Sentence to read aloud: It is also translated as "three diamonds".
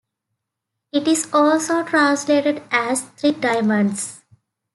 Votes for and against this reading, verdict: 2, 0, accepted